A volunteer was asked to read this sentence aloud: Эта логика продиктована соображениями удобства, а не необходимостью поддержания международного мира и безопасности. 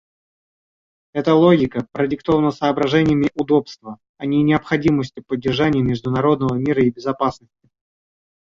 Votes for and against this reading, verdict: 0, 2, rejected